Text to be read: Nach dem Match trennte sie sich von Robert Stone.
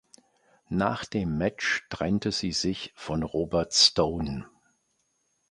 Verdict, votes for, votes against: accepted, 2, 0